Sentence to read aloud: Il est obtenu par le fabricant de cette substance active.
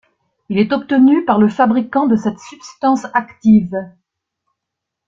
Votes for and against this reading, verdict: 2, 0, accepted